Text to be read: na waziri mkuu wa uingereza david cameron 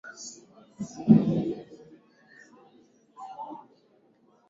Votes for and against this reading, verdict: 0, 4, rejected